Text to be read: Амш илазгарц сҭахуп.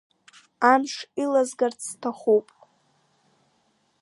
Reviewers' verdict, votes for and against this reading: accepted, 2, 1